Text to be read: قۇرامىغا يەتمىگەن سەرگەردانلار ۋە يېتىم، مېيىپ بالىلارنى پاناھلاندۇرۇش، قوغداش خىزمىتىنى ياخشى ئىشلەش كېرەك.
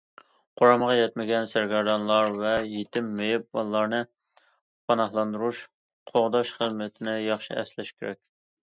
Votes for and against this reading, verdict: 0, 2, rejected